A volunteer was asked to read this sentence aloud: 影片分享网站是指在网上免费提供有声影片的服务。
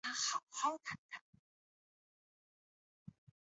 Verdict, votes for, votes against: rejected, 0, 4